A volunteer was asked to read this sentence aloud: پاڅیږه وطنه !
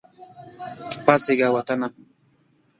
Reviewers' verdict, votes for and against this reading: rejected, 1, 2